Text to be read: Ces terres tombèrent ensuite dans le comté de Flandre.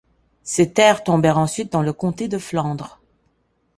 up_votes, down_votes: 3, 0